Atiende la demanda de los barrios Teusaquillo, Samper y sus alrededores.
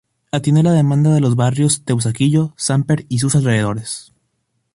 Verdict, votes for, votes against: accepted, 2, 0